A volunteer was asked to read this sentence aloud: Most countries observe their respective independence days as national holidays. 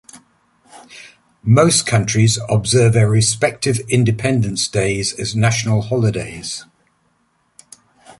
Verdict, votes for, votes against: accepted, 2, 0